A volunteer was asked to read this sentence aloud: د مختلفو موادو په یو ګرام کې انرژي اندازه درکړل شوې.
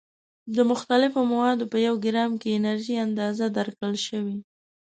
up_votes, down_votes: 2, 0